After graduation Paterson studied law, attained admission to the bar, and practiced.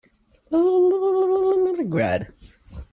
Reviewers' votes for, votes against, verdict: 0, 2, rejected